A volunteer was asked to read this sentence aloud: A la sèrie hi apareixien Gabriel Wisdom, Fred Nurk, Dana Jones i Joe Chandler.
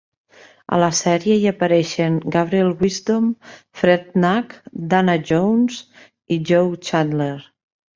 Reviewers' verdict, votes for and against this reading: accepted, 2, 1